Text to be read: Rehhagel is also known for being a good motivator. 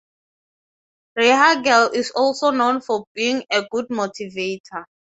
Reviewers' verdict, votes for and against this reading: accepted, 6, 0